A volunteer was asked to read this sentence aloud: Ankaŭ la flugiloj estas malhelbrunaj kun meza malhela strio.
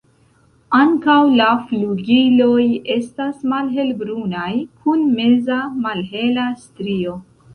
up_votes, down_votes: 2, 0